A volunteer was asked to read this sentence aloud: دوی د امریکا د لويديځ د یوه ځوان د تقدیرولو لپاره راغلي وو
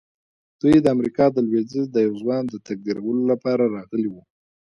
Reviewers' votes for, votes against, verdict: 1, 2, rejected